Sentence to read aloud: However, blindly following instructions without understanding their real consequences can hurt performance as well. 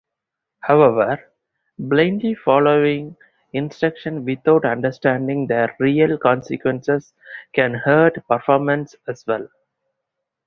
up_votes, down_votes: 2, 2